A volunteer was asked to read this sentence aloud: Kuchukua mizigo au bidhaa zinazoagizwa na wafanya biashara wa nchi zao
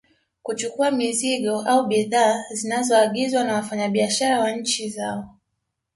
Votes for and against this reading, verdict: 2, 0, accepted